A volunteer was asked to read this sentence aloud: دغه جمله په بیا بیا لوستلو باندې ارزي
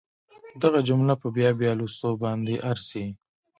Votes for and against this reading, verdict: 1, 2, rejected